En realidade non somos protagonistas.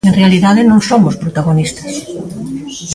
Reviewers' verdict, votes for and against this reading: rejected, 0, 2